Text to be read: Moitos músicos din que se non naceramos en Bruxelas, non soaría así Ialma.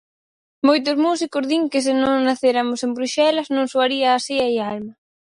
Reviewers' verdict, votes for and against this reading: rejected, 2, 4